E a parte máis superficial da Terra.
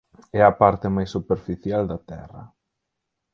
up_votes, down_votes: 2, 4